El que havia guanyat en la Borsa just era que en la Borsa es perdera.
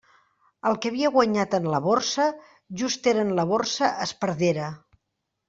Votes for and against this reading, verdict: 0, 2, rejected